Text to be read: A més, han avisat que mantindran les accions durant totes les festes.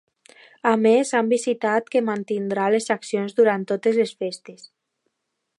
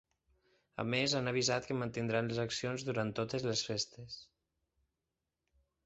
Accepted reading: second